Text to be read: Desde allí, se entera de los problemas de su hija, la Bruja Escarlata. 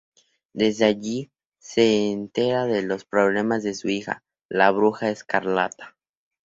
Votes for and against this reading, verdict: 2, 0, accepted